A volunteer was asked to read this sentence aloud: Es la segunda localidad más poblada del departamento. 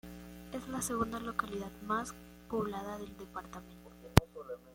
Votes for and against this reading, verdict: 1, 2, rejected